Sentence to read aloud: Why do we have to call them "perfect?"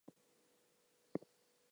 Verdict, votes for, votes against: rejected, 0, 4